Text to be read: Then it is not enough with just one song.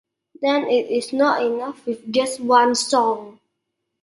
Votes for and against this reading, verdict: 2, 0, accepted